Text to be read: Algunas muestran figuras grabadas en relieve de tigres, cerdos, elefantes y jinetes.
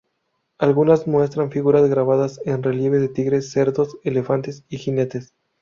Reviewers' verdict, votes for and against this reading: accepted, 2, 0